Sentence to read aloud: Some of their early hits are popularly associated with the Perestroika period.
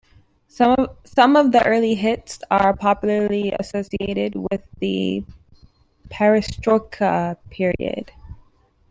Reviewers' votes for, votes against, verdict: 2, 0, accepted